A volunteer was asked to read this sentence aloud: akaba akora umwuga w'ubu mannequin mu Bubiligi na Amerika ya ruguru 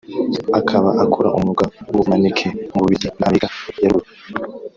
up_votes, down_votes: 0, 2